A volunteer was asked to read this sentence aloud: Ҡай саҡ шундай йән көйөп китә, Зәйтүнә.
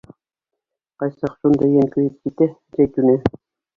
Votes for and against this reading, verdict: 2, 0, accepted